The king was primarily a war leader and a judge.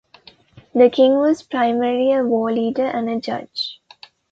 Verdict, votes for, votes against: rejected, 1, 2